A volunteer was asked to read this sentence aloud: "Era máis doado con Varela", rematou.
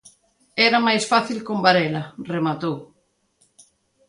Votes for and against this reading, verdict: 0, 2, rejected